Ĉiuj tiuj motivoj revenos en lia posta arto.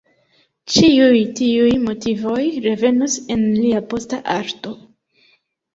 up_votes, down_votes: 2, 0